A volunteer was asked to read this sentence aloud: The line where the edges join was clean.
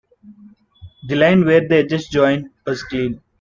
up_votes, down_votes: 2, 0